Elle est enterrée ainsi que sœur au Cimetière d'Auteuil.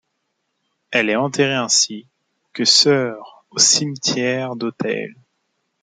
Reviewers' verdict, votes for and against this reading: rejected, 1, 2